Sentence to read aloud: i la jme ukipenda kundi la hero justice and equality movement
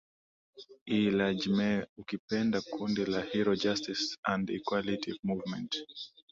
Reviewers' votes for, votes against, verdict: 3, 0, accepted